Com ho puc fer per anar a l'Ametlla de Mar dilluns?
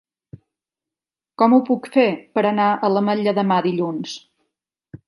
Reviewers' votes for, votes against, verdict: 0, 2, rejected